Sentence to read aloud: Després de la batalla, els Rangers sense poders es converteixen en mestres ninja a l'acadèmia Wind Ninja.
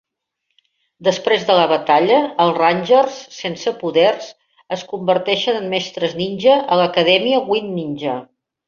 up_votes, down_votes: 2, 0